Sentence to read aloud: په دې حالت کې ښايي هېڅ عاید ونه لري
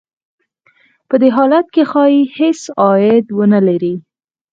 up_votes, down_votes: 4, 0